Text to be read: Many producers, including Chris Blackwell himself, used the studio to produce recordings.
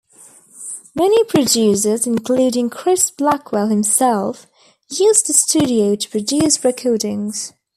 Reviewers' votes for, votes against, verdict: 2, 1, accepted